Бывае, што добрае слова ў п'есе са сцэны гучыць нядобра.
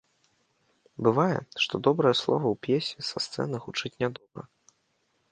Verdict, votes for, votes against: rejected, 1, 2